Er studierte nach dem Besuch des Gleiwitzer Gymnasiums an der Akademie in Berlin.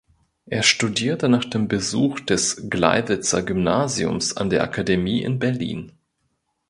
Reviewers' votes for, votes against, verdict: 2, 0, accepted